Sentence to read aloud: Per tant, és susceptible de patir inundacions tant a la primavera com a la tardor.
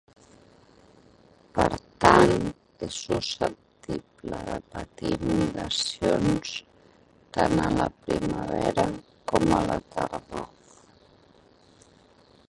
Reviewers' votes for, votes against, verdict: 1, 2, rejected